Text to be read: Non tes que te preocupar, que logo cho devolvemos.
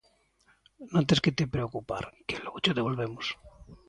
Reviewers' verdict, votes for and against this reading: accepted, 2, 0